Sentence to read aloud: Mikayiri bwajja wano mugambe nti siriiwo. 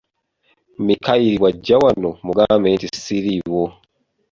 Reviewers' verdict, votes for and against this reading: accepted, 2, 0